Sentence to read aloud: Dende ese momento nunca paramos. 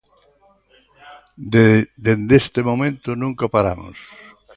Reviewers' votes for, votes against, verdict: 0, 2, rejected